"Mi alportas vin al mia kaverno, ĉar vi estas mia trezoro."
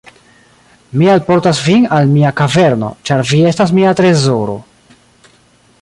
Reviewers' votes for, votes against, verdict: 2, 0, accepted